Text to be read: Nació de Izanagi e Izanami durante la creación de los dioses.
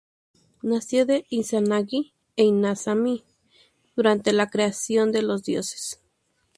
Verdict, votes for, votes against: accepted, 2, 0